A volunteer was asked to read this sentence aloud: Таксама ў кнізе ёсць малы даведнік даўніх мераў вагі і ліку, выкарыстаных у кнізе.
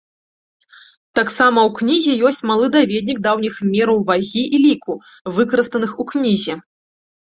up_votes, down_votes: 0, 2